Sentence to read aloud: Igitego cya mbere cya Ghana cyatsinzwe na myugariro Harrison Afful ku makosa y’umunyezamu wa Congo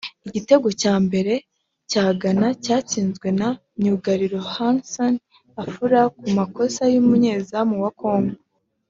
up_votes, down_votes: 2, 0